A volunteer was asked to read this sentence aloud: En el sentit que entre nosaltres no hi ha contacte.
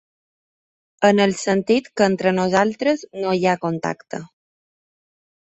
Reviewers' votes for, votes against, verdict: 3, 0, accepted